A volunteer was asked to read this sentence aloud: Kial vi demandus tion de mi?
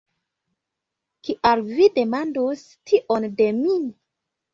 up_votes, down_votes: 2, 0